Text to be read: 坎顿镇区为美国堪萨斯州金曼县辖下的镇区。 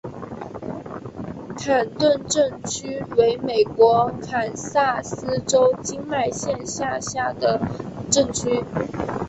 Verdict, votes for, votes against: accepted, 4, 1